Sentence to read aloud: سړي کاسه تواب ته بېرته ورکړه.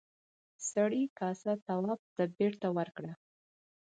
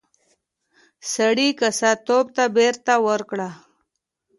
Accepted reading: first